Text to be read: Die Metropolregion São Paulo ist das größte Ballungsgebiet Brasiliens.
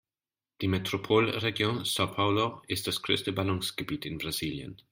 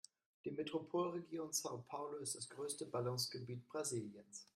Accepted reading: second